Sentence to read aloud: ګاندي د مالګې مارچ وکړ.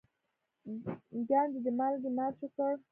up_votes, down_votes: 2, 1